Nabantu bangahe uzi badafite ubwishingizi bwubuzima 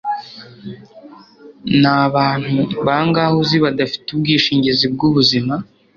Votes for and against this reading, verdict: 2, 0, accepted